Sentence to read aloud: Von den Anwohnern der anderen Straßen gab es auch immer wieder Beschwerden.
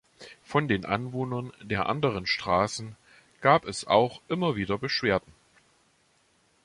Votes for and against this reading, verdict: 2, 0, accepted